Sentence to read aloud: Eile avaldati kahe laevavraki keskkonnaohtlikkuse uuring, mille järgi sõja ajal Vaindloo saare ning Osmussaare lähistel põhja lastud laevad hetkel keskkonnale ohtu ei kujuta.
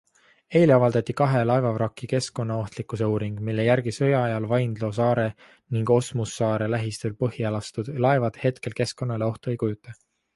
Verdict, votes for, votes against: accepted, 2, 0